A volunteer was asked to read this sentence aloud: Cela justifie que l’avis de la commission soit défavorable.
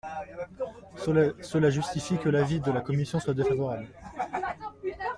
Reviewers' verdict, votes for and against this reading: rejected, 0, 2